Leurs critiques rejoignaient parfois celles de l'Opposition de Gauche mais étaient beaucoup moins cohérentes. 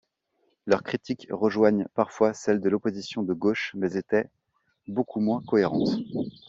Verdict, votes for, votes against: rejected, 1, 2